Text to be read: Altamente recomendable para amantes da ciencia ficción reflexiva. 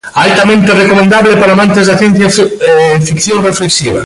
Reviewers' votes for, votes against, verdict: 0, 2, rejected